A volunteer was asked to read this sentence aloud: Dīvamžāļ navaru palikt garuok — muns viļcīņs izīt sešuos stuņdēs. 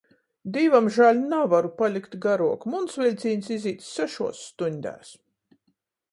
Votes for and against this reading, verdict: 14, 0, accepted